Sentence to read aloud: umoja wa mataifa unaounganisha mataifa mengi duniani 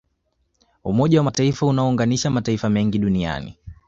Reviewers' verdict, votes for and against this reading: accepted, 2, 0